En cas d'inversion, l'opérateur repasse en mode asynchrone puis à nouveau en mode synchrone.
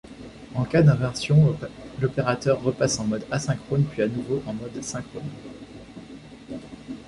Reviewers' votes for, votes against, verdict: 2, 0, accepted